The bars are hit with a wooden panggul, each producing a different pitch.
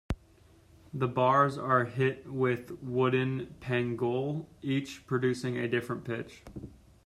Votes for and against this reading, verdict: 1, 2, rejected